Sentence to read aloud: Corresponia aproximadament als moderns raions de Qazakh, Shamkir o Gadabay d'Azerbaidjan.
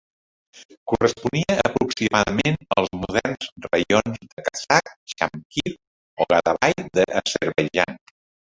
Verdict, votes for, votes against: rejected, 0, 2